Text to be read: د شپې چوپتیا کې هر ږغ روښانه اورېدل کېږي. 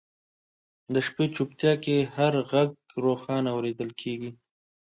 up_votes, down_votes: 2, 0